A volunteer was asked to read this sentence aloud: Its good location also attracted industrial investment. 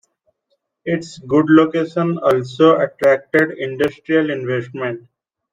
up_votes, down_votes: 2, 1